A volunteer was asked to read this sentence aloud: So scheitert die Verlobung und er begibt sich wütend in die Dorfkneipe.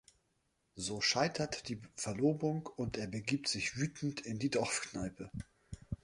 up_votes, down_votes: 1, 2